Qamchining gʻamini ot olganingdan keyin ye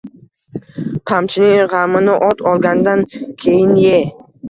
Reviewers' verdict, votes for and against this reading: rejected, 1, 2